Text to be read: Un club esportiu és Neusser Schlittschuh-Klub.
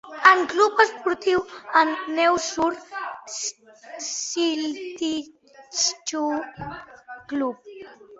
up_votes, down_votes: 0, 2